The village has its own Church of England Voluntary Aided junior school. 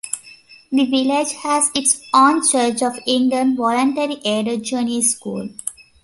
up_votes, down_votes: 1, 2